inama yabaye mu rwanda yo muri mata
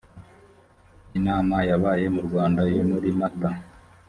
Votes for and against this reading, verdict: 3, 0, accepted